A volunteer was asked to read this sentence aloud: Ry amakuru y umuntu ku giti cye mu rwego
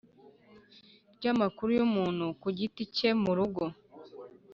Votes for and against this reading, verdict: 1, 2, rejected